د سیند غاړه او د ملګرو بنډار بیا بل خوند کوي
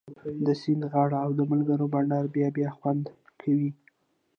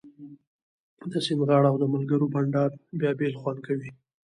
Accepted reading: second